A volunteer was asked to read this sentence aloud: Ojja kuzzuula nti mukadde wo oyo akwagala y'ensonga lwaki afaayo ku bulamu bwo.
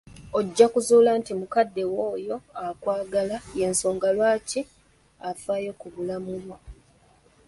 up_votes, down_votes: 2, 0